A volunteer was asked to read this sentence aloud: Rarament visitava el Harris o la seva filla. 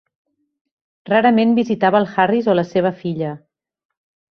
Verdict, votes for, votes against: accepted, 3, 0